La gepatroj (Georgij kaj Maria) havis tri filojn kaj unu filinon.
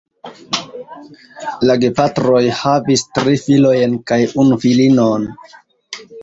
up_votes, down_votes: 1, 2